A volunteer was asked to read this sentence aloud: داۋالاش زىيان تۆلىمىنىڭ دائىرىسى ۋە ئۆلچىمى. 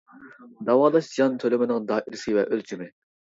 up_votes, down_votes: 2, 1